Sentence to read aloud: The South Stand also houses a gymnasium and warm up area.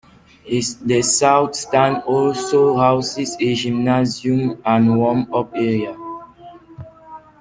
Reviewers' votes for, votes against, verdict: 0, 2, rejected